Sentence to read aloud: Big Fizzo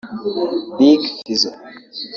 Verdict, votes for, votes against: rejected, 0, 2